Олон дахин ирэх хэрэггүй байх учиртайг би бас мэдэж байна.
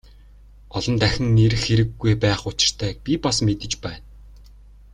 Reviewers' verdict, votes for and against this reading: accepted, 2, 0